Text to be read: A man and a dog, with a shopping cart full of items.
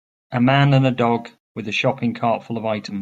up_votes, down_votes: 1, 2